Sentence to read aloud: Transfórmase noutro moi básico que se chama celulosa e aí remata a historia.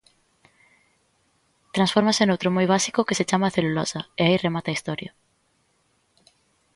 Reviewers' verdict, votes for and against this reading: accepted, 2, 0